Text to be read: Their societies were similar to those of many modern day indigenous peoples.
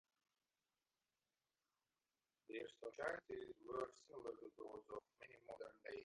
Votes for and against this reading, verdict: 0, 2, rejected